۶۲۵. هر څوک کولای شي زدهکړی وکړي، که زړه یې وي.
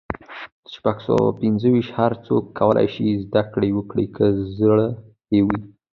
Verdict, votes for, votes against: rejected, 0, 2